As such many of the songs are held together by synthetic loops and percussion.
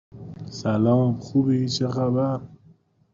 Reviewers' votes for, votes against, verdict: 0, 2, rejected